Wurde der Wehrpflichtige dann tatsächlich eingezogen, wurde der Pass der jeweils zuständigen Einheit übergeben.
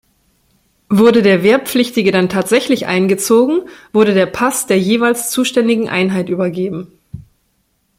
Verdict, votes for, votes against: accepted, 2, 0